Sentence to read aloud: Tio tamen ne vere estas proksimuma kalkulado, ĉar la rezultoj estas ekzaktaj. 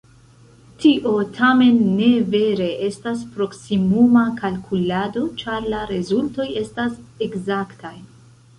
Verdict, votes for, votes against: accepted, 2, 0